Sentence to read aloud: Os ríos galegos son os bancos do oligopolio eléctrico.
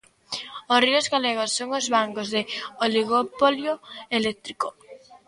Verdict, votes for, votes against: rejected, 0, 2